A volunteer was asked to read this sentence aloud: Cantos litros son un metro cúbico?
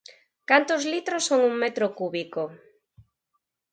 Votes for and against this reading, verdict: 4, 0, accepted